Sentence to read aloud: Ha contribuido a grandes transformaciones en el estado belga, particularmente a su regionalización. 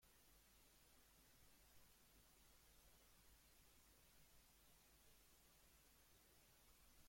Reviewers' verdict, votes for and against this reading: rejected, 0, 2